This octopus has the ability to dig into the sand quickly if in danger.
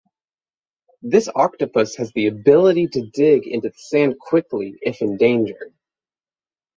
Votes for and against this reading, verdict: 6, 0, accepted